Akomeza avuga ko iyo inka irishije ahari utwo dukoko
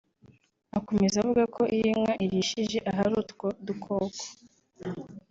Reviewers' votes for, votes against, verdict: 2, 0, accepted